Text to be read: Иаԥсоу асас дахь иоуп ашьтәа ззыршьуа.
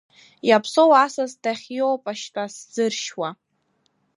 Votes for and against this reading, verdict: 0, 2, rejected